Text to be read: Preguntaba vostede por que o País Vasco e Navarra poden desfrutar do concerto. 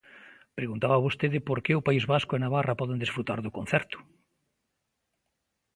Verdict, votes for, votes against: accepted, 2, 0